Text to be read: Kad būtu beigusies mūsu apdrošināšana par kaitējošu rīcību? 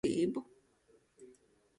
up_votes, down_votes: 0, 2